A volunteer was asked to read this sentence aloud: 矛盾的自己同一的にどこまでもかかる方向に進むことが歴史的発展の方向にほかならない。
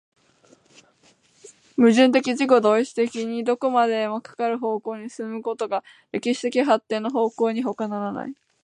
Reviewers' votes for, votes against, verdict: 2, 0, accepted